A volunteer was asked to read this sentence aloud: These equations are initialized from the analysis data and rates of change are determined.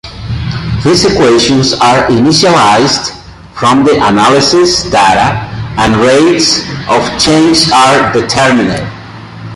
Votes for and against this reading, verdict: 2, 0, accepted